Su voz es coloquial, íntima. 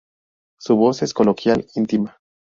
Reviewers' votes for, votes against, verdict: 0, 2, rejected